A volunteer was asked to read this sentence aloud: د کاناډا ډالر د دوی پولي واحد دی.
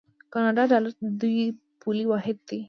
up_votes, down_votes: 2, 0